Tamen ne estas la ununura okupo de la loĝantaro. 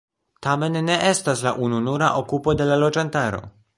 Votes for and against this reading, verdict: 1, 2, rejected